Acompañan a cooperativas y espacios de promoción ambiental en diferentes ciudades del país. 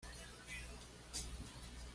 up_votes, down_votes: 1, 2